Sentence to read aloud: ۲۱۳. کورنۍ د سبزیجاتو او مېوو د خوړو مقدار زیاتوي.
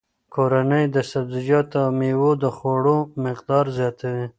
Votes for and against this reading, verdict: 0, 2, rejected